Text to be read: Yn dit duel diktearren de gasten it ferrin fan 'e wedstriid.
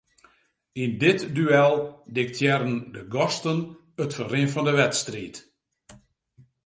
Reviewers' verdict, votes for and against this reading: accepted, 2, 0